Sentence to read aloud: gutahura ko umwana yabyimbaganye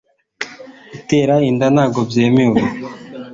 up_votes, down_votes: 1, 2